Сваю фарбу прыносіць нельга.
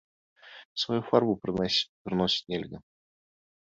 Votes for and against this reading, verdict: 1, 2, rejected